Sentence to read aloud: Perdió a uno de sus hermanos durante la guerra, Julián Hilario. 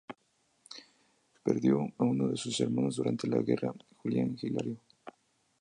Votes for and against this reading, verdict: 0, 2, rejected